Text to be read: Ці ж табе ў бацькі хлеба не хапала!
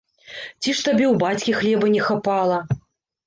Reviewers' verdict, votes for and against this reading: accepted, 3, 0